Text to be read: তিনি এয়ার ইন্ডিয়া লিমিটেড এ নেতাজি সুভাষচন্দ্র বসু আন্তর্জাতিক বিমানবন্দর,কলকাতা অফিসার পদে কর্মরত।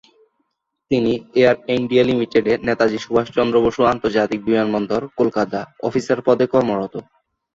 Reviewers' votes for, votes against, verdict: 0, 2, rejected